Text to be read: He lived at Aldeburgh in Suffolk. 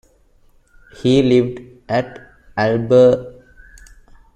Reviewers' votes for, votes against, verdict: 0, 2, rejected